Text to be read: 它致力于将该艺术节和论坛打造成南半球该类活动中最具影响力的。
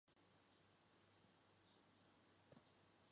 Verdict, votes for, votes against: rejected, 1, 2